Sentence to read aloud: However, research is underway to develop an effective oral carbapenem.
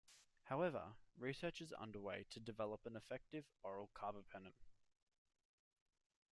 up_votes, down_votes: 2, 1